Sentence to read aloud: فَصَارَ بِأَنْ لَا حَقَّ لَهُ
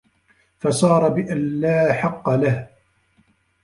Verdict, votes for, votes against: rejected, 0, 2